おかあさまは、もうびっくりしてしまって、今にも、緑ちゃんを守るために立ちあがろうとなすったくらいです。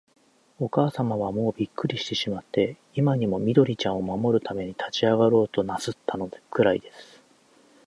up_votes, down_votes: 0, 2